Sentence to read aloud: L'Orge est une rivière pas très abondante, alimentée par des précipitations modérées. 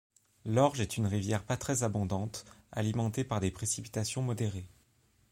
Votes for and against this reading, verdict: 2, 0, accepted